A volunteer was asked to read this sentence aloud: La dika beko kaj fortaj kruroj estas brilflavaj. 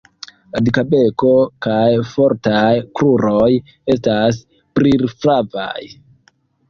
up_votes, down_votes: 0, 2